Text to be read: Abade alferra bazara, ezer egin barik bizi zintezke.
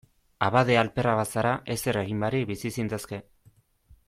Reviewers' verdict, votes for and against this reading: accepted, 2, 0